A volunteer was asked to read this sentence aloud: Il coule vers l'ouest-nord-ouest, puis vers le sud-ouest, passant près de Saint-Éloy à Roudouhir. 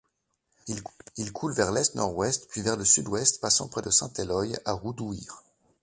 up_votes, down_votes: 0, 2